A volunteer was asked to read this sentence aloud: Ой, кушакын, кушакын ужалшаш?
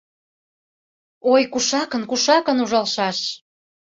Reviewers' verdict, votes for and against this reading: accepted, 2, 0